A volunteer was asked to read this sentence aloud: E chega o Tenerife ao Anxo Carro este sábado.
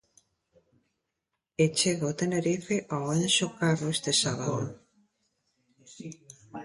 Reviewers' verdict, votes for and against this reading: accepted, 2, 1